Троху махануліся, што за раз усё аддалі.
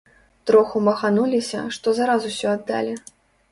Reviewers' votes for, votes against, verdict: 2, 0, accepted